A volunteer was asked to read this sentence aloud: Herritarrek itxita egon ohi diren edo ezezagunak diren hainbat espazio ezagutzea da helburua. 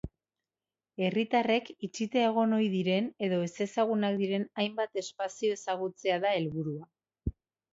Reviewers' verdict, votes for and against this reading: rejected, 0, 2